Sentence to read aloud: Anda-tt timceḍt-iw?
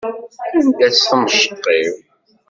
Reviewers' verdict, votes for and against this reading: rejected, 1, 2